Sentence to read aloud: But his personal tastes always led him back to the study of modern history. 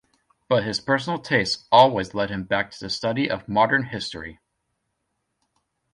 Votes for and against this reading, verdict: 2, 0, accepted